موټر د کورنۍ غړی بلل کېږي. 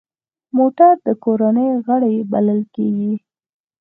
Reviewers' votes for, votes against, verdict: 4, 0, accepted